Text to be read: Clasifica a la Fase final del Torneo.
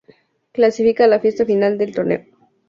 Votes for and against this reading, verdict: 0, 2, rejected